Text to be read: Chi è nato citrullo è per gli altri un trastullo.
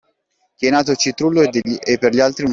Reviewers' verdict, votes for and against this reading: rejected, 0, 2